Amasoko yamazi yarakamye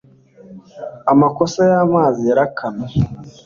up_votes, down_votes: 1, 2